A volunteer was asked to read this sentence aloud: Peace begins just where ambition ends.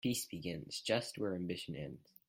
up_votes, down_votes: 2, 0